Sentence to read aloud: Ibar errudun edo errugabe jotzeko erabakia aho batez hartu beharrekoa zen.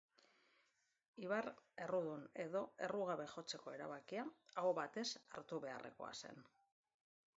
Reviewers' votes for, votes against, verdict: 1, 2, rejected